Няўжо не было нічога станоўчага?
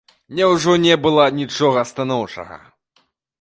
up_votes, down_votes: 0, 2